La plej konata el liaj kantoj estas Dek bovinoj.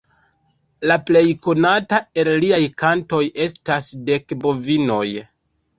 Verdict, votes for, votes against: rejected, 1, 2